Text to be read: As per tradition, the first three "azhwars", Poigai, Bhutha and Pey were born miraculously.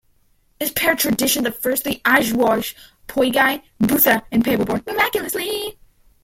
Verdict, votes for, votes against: rejected, 1, 2